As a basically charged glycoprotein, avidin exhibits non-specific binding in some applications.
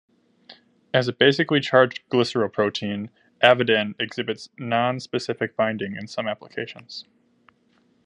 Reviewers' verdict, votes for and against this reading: rejected, 1, 2